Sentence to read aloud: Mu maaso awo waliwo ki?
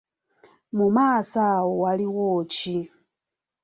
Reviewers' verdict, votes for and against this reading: accepted, 2, 0